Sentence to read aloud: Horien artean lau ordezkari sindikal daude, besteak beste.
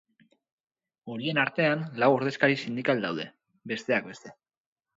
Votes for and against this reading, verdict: 4, 0, accepted